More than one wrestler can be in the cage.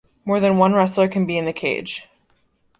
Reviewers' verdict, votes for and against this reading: accepted, 2, 0